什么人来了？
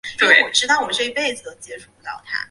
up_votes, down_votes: 0, 3